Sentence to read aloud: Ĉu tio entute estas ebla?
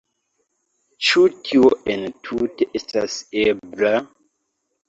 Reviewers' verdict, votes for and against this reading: accepted, 2, 1